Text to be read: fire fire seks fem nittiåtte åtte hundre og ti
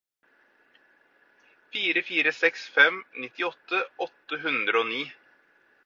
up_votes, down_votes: 2, 4